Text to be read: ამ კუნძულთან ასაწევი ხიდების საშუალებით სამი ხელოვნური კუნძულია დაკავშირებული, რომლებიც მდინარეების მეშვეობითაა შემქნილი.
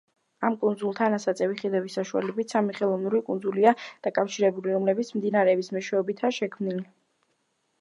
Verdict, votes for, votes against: accepted, 2, 0